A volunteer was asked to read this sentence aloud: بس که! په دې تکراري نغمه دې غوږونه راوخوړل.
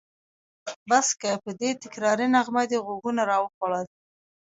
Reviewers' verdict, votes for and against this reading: accepted, 2, 0